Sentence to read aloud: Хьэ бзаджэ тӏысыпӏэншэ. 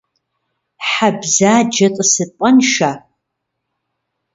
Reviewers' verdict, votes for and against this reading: accepted, 2, 0